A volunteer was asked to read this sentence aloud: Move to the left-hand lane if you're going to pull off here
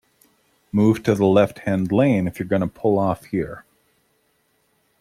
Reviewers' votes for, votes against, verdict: 2, 0, accepted